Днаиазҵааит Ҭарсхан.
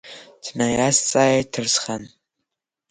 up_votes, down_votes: 6, 1